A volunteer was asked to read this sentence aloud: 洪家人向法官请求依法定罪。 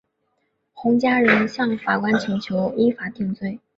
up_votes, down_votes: 2, 0